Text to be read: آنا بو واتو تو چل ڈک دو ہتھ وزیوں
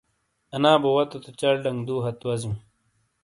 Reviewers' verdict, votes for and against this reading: accepted, 2, 0